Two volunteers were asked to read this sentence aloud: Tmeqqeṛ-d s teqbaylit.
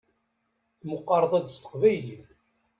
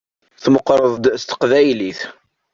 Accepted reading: second